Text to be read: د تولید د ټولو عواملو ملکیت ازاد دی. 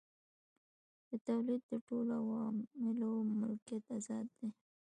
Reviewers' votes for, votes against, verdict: 0, 2, rejected